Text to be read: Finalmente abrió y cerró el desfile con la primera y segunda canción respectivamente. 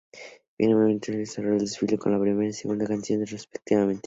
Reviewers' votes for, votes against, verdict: 2, 0, accepted